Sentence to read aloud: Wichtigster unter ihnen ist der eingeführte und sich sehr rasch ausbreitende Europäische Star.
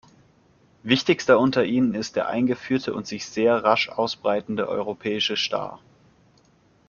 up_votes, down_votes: 2, 0